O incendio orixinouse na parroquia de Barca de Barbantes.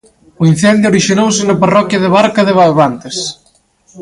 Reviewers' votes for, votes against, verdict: 2, 0, accepted